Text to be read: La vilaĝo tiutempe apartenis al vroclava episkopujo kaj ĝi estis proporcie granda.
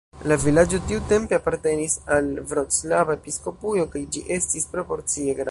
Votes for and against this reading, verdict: 0, 2, rejected